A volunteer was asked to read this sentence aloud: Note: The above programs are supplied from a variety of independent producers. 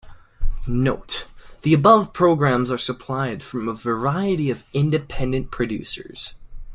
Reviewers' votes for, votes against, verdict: 2, 0, accepted